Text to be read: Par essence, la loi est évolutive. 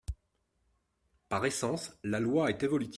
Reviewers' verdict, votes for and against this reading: rejected, 0, 2